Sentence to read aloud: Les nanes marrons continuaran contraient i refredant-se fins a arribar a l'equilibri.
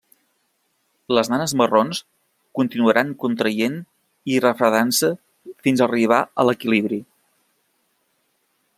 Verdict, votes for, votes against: accepted, 2, 0